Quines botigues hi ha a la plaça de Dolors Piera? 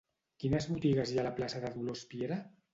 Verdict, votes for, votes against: accepted, 2, 0